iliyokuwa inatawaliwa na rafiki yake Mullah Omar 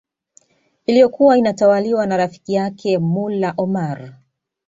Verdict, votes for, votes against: accepted, 2, 0